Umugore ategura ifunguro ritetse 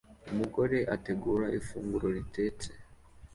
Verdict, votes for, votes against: accepted, 2, 0